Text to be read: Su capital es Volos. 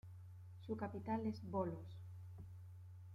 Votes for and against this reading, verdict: 3, 2, accepted